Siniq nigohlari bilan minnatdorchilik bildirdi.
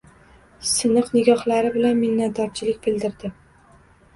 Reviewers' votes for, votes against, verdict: 2, 0, accepted